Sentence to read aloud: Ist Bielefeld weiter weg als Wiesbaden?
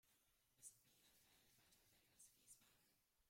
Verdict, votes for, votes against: rejected, 0, 2